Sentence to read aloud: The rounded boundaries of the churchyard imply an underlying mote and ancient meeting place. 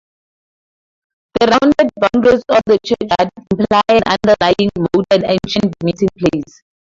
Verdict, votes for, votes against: rejected, 0, 2